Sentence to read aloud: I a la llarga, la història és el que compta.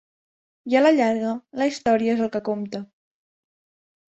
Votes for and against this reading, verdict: 2, 0, accepted